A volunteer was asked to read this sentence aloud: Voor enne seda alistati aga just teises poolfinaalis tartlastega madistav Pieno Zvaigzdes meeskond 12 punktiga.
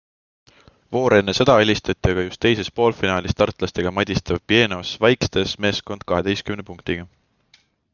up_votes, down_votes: 0, 2